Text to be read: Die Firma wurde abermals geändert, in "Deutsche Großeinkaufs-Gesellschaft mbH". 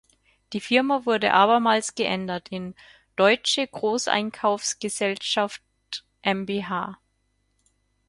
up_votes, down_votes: 0, 4